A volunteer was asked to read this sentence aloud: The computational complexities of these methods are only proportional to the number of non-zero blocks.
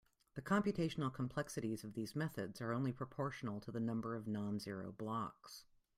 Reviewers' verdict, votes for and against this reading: accepted, 2, 0